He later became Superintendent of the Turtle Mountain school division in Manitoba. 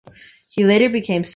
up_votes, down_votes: 1, 2